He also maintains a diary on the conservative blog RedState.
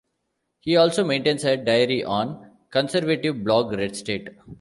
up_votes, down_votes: 2, 0